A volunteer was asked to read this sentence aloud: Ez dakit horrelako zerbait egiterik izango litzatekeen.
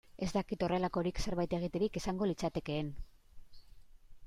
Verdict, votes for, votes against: rejected, 0, 2